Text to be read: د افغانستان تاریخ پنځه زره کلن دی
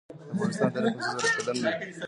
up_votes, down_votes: 0, 2